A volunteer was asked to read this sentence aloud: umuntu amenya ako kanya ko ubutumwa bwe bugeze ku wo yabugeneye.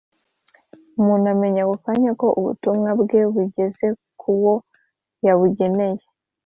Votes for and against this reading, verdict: 2, 0, accepted